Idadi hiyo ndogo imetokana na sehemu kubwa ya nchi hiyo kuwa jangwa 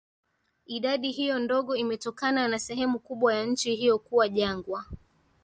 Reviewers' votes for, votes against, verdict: 2, 0, accepted